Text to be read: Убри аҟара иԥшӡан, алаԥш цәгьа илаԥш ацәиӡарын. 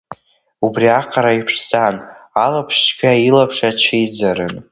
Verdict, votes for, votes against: accepted, 3, 0